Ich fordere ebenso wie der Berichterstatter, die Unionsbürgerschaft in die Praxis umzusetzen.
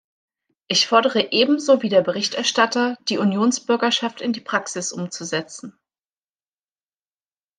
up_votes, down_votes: 2, 0